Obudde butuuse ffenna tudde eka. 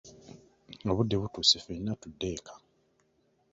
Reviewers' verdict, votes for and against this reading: accepted, 2, 0